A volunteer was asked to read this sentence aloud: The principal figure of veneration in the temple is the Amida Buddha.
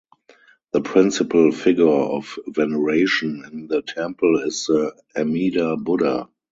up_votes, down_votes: 2, 2